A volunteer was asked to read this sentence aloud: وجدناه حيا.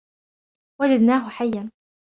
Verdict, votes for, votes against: accepted, 2, 0